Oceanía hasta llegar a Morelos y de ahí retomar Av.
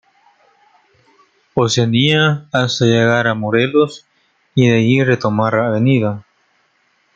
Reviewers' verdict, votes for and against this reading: accepted, 2, 0